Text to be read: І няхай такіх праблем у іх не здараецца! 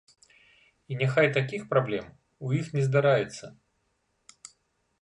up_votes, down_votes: 2, 0